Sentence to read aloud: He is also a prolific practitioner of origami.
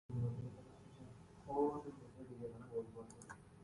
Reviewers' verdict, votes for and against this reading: rejected, 0, 6